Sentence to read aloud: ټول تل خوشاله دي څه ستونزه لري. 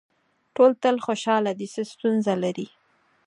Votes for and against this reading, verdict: 4, 0, accepted